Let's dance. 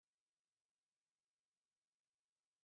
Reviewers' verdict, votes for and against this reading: rejected, 0, 2